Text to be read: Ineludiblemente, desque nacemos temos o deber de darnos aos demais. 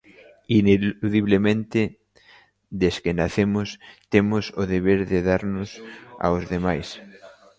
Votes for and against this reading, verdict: 0, 2, rejected